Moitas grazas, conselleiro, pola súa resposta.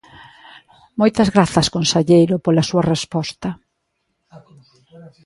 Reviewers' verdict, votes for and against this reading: rejected, 0, 2